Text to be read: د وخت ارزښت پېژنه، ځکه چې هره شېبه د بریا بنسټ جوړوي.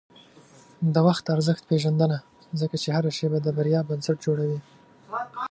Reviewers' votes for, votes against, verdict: 2, 1, accepted